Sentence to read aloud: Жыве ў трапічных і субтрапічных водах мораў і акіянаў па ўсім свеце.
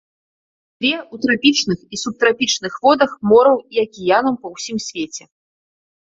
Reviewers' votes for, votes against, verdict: 1, 2, rejected